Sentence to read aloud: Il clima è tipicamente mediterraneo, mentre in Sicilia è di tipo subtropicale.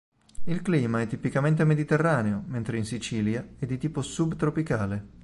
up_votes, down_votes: 2, 0